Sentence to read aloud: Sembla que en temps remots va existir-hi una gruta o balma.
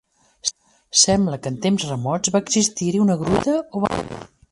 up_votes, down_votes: 0, 2